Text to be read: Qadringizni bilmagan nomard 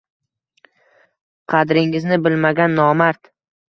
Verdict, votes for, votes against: accepted, 2, 0